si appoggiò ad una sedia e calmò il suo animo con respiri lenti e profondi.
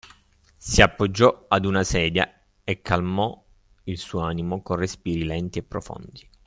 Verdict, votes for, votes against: accepted, 2, 0